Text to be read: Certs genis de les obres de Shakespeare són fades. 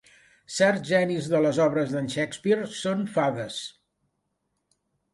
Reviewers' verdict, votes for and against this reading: rejected, 1, 2